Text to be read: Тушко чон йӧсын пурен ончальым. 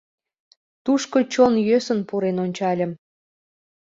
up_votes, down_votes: 2, 0